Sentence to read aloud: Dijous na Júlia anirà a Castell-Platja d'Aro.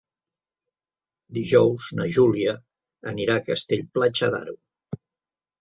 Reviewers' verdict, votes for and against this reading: accepted, 2, 0